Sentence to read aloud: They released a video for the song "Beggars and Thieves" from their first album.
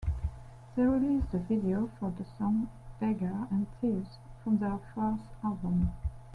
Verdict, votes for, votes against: rejected, 1, 2